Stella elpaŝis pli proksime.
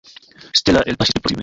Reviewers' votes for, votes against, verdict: 0, 2, rejected